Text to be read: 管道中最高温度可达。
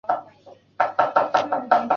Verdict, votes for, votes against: rejected, 2, 3